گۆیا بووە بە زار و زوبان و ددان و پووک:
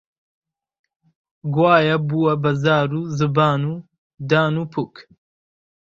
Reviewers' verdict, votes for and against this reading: rejected, 1, 2